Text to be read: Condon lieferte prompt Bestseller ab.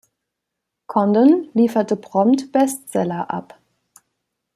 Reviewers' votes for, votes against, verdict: 2, 0, accepted